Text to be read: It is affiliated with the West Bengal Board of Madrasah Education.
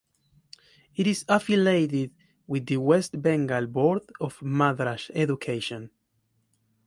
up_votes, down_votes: 1, 2